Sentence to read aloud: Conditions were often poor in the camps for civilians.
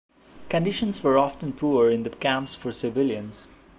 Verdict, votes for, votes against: accepted, 2, 0